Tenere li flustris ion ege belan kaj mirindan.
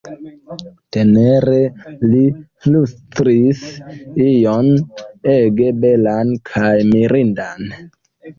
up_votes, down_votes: 0, 2